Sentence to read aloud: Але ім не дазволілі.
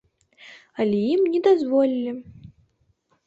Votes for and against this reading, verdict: 2, 0, accepted